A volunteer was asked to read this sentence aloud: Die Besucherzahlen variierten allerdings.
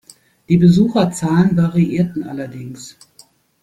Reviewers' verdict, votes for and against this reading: accepted, 2, 0